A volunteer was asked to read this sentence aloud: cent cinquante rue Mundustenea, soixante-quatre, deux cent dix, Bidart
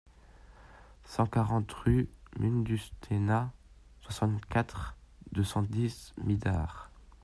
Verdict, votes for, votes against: rejected, 0, 2